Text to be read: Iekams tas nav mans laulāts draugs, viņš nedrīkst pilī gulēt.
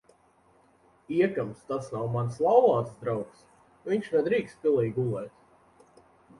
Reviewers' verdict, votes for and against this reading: accepted, 2, 0